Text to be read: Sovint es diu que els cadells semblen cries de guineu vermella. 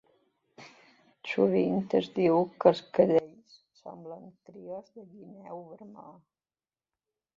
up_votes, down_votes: 0, 2